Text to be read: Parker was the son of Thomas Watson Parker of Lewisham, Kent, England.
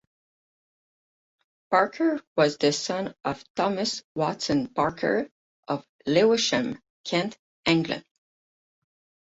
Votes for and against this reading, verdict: 8, 0, accepted